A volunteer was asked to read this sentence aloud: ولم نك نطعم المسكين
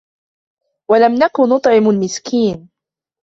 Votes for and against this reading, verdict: 2, 0, accepted